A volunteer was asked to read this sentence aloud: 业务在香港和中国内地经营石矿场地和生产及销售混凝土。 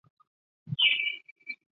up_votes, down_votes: 0, 2